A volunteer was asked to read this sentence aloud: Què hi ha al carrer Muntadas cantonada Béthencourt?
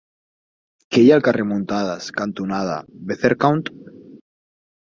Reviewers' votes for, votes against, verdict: 0, 4, rejected